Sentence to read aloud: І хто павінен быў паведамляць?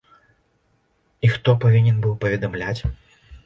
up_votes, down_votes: 2, 0